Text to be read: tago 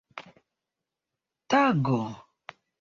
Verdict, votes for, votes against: accepted, 2, 0